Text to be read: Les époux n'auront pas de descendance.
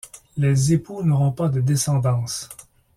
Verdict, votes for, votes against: accepted, 2, 0